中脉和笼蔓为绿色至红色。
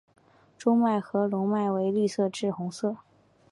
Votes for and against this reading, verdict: 2, 0, accepted